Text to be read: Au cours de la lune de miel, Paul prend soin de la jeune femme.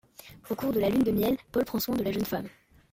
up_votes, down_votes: 2, 1